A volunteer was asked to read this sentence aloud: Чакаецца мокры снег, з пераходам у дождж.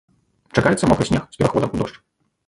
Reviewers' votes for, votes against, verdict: 0, 2, rejected